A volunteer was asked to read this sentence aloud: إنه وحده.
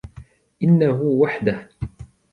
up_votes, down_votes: 2, 0